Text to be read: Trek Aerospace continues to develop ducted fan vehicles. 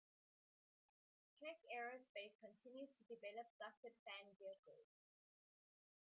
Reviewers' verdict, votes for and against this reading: rejected, 0, 2